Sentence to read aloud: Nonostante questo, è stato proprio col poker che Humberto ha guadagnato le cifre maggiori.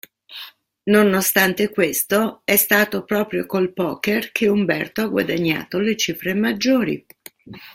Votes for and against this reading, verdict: 2, 0, accepted